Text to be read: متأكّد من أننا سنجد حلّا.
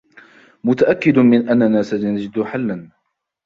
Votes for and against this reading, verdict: 2, 1, accepted